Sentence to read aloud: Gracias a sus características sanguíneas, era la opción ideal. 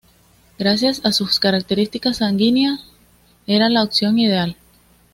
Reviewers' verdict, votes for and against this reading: accepted, 2, 0